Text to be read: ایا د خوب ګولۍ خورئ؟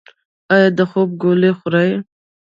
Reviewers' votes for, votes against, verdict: 1, 2, rejected